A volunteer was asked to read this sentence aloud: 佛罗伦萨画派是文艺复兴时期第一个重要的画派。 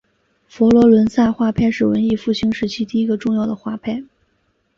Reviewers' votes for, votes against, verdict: 2, 0, accepted